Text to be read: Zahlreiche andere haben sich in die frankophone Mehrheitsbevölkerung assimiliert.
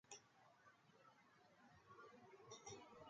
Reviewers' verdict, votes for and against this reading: rejected, 0, 2